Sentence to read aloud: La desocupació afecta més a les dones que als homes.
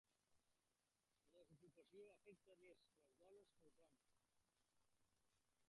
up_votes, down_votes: 0, 2